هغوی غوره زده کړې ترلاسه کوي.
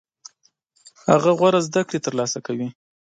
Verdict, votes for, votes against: accepted, 2, 1